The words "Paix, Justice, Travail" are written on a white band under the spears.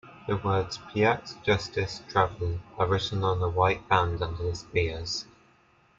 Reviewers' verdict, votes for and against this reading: accepted, 2, 0